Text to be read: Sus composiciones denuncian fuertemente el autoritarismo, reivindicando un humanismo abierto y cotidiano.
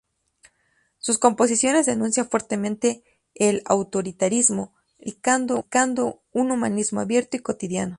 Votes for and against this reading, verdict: 0, 2, rejected